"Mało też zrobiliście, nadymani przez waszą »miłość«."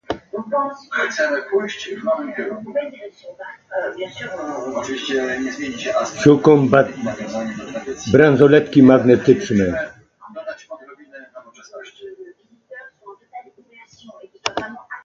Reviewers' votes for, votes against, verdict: 0, 2, rejected